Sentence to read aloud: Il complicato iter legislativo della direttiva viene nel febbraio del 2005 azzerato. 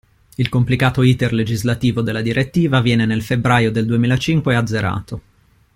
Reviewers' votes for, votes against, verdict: 0, 2, rejected